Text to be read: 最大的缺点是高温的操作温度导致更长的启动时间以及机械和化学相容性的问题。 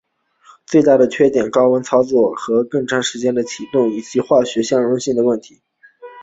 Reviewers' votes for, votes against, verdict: 4, 0, accepted